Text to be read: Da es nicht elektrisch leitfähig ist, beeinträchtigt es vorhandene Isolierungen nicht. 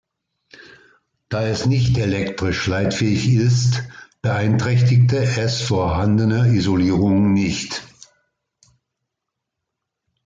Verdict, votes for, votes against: rejected, 2, 3